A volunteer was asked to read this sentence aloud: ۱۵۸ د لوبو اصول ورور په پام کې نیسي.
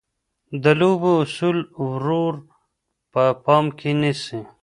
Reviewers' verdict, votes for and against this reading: rejected, 0, 2